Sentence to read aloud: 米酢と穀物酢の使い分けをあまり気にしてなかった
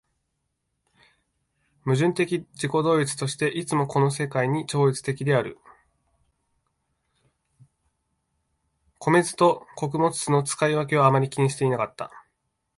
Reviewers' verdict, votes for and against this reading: rejected, 0, 2